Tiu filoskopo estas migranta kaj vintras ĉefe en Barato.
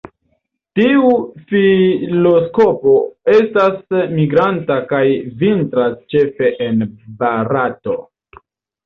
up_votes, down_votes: 2, 1